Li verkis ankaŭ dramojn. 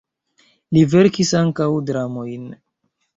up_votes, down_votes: 1, 2